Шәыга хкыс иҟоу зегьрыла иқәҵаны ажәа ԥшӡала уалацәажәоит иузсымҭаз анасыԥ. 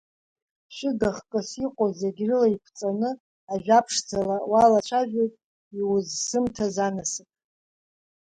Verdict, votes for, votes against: accepted, 2, 0